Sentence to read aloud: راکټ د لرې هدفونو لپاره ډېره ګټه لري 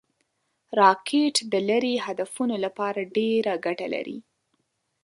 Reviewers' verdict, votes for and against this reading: accepted, 2, 0